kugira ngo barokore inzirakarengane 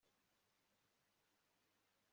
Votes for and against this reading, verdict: 1, 2, rejected